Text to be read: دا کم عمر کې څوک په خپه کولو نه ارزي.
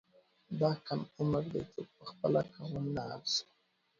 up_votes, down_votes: 1, 2